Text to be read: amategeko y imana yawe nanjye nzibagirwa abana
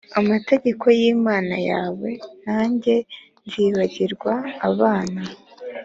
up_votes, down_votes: 2, 0